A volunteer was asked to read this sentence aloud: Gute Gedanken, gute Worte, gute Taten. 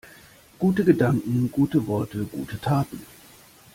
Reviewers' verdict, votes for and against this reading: accepted, 2, 0